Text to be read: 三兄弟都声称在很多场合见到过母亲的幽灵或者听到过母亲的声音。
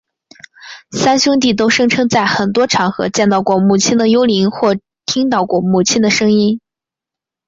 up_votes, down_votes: 0, 2